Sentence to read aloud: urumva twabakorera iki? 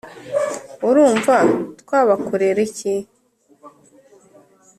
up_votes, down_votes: 2, 0